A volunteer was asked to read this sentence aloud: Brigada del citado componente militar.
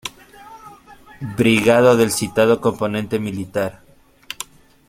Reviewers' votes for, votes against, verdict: 2, 1, accepted